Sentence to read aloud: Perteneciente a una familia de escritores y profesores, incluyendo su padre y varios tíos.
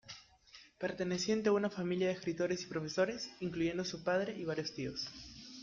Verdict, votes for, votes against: accepted, 2, 0